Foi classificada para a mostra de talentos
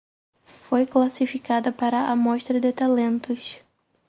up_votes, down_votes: 2, 2